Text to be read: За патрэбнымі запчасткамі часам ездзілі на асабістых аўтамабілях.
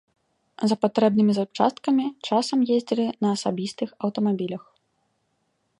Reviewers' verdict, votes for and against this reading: accepted, 2, 0